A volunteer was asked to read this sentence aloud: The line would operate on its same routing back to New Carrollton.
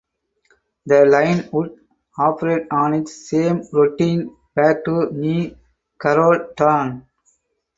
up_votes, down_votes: 0, 4